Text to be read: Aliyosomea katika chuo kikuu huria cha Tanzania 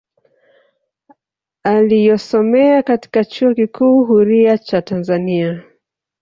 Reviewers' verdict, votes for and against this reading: accepted, 2, 1